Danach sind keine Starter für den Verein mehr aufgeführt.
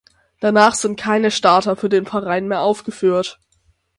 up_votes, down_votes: 6, 0